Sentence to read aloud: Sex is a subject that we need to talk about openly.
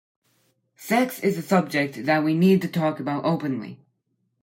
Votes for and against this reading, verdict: 2, 0, accepted